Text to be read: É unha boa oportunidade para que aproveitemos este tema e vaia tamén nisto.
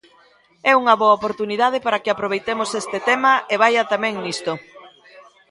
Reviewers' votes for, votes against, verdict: 2, 0, accepted